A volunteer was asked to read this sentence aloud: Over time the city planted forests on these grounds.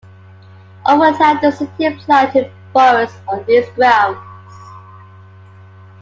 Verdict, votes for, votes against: accepted, 3, 2